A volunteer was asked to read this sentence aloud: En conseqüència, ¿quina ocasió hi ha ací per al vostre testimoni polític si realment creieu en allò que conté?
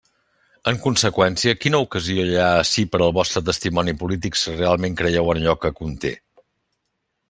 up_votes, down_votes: 3, 0